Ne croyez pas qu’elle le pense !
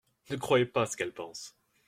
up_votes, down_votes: 1, 2